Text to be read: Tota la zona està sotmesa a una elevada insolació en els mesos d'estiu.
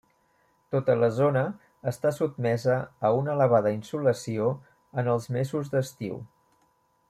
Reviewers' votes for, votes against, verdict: 1, 2, rejected